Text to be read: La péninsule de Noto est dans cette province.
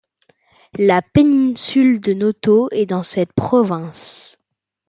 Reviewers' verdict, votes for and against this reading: rejected, 1, 2